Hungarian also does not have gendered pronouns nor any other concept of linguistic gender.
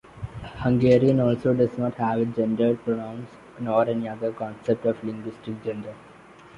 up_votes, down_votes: 2, 1